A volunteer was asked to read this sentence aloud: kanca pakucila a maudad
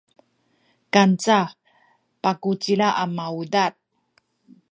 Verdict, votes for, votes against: accepted, 2, 0